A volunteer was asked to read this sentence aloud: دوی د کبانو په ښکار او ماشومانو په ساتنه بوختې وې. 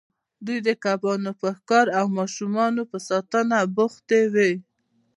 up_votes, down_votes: 2, 0